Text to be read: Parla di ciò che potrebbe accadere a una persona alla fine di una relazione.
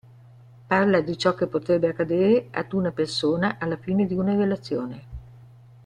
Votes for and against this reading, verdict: 0, 2, rejected